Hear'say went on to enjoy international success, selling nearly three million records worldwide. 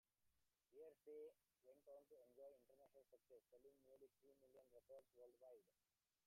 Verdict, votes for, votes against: rejected, 0, 2